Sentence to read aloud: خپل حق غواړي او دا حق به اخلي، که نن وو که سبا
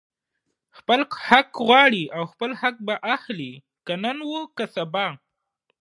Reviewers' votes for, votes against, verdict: 1, 2, rejected